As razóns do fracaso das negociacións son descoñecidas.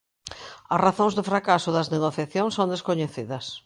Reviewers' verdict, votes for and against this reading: accepted, 2, 0